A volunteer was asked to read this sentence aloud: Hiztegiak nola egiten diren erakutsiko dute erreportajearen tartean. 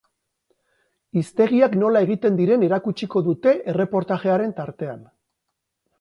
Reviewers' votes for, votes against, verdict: 2, 0, accepted